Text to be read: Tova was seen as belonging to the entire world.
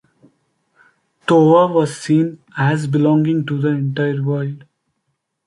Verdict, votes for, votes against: accepted, 2, 0